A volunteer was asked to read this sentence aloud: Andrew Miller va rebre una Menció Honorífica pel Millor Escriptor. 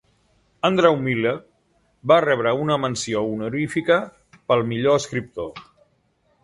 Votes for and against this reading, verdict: 3, 0, accepted